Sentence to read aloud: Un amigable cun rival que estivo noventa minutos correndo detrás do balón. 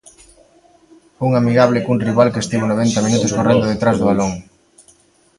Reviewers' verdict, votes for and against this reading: accepted, 2, 1